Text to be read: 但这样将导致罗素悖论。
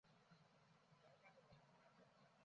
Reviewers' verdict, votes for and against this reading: rejected, 1, 5